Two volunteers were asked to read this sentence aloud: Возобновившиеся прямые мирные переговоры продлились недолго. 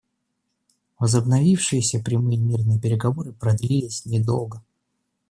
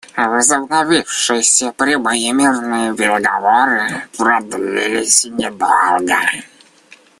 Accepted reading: first